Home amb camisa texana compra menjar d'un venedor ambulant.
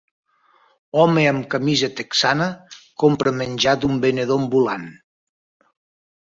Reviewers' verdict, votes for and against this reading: accepted, 2, 0